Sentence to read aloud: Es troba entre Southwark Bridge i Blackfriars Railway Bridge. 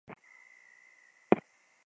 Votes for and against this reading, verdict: 0, 2, rejected